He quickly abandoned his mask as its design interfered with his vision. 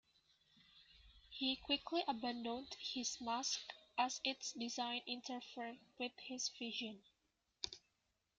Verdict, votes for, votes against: accepted, 2, 0